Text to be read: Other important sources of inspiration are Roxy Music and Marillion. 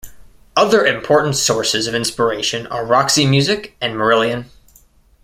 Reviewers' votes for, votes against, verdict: 1, 2, rejected